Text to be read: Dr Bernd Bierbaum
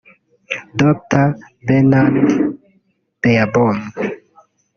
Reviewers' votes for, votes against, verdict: 0, 2, rejected